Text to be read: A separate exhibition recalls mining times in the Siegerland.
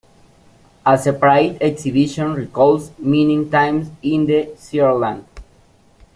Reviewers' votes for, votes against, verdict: 1, 2, rejected